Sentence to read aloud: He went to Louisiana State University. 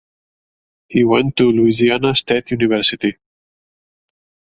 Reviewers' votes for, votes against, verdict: 4, 0, accepted